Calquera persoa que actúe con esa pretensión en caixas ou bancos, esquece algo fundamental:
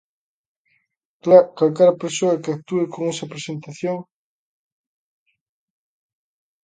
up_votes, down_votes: 0, 2